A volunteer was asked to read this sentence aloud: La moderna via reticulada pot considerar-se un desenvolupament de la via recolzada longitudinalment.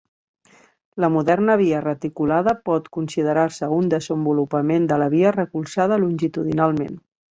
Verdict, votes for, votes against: accepted, 5, 0